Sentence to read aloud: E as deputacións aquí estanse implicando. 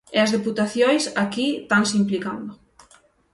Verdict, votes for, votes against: rejected, 3, 6